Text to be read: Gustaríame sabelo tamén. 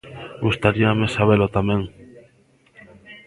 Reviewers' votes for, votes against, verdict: 0, 2, rejected